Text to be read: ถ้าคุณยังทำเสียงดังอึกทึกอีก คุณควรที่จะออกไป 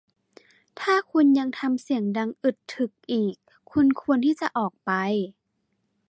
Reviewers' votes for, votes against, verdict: 1, 2, rejected